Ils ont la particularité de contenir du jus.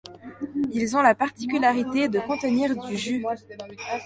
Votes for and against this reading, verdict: 1, 2, rejected